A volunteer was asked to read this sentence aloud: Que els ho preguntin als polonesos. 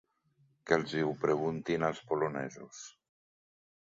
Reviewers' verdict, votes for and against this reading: rejected, 0, 2